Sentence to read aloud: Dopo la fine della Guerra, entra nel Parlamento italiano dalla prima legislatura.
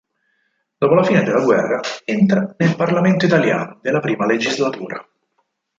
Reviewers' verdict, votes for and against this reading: rejected, 0, 4